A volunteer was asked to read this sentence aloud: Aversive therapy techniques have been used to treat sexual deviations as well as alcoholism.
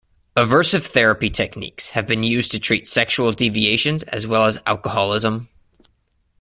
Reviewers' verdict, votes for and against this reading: accepted, 2, 0